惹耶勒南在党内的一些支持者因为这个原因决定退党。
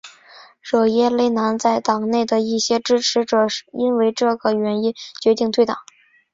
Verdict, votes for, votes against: accepted, 2, 0